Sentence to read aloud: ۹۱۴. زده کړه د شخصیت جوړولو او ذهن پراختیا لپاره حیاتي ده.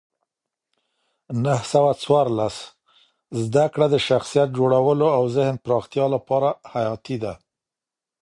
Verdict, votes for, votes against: rejected, 0, 2